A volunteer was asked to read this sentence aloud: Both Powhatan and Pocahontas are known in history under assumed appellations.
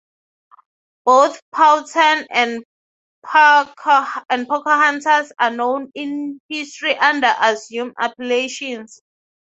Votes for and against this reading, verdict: 6, 0, accepted